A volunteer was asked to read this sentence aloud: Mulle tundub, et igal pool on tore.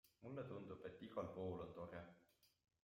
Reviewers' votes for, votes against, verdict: 2, 0, accepted